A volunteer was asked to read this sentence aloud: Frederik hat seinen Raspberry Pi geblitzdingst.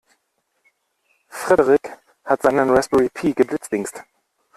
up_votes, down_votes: 1, 2